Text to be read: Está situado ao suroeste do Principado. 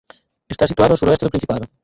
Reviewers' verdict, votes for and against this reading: rejected, 2, 4